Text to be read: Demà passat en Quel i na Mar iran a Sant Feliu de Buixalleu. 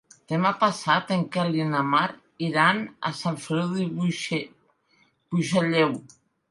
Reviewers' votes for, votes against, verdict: 0, 2, rejected